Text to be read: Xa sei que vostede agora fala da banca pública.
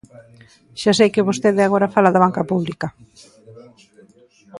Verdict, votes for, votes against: accepted, 2, 0